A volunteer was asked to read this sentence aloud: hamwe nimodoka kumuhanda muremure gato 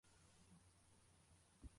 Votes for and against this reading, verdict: 0, 2, rejected